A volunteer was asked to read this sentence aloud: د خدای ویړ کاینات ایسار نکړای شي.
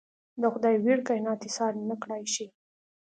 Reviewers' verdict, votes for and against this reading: accepted, 2, 0